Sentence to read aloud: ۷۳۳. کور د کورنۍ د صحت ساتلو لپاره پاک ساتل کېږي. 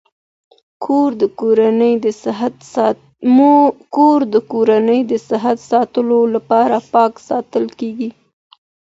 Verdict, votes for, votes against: rejected, 0, 2